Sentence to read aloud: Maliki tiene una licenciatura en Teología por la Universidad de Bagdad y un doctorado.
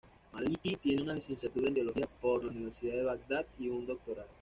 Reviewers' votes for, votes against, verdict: 2, 0, accepted